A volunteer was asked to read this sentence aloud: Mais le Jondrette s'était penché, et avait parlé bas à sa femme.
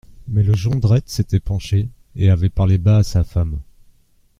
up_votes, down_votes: 2, 0